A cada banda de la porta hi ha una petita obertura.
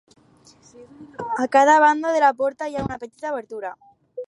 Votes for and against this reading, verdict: 4, 2, accepted